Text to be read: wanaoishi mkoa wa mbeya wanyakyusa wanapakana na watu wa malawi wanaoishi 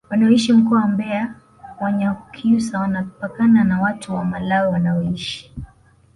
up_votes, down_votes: 2, 0